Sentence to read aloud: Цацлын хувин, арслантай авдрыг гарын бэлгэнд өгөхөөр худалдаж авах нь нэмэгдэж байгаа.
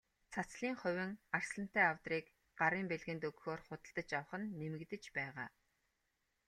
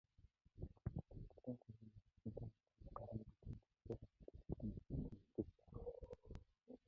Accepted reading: first